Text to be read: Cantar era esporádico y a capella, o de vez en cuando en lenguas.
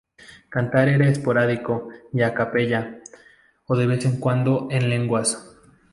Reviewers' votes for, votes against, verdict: 2, 0, accepted